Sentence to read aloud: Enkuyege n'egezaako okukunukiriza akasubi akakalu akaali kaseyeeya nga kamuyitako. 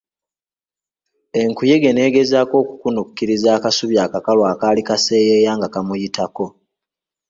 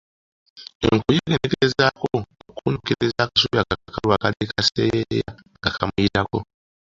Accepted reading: first